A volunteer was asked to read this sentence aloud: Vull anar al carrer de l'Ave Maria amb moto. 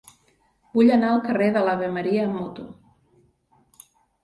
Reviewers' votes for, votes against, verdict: 2, 0, accepted